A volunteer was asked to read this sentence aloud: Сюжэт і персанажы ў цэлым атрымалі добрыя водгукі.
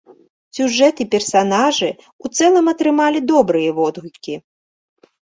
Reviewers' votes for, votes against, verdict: 2, 0, accepted